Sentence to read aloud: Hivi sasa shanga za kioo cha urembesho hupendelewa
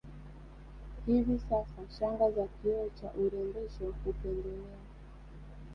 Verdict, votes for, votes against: accepted, 2, 0